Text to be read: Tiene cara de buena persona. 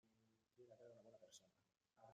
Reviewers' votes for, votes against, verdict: 0, 2, rejected